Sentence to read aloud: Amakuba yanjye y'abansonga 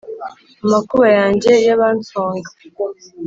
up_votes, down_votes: 4, 0